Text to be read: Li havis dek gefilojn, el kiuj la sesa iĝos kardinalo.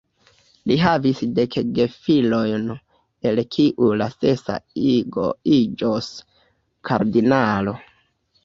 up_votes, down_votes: 0, 2